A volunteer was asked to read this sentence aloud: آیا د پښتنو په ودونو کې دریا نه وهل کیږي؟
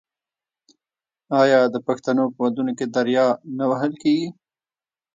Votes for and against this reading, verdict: 1, 2, rejected